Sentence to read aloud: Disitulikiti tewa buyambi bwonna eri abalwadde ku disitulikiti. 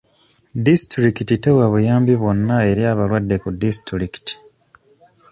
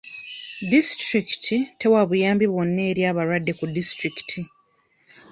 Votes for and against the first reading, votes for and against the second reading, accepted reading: 2, 0, 1, 2, first